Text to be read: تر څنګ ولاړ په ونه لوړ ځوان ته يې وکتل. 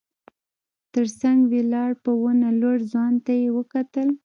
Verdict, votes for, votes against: rejected, 1, 2